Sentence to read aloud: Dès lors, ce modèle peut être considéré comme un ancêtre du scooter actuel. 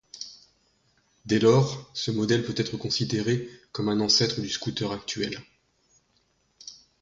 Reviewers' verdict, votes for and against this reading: accepted, 2, 0